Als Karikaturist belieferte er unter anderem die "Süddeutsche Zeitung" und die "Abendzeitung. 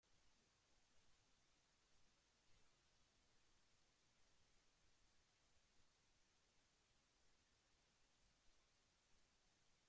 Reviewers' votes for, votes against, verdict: 0, 2, rejected